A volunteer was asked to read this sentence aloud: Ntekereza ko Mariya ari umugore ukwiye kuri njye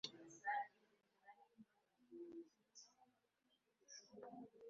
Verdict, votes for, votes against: rejected, 1, 2